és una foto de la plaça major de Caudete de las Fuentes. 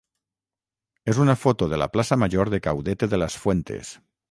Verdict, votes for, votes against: rejected, 3, 6